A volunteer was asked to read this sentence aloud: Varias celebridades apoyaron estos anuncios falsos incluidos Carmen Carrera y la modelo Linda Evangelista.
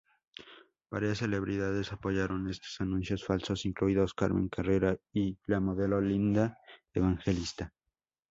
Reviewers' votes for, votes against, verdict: 2, 0, accepted